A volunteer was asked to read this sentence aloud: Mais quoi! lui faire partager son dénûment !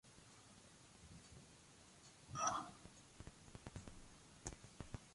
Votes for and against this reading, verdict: 0, 2, rejected